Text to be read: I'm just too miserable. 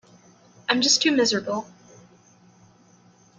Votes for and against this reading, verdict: 3, 0, accepted